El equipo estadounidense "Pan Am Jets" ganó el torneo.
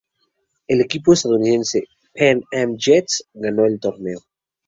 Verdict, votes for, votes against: rejected, 0, 2